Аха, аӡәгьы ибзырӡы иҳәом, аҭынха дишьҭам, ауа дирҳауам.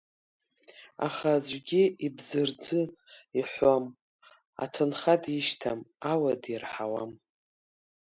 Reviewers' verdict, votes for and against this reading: accepted, 2, 0